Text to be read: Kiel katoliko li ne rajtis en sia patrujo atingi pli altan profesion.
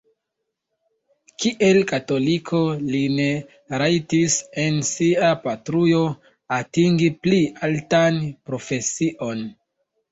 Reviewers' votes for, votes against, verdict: 0, 2, rejected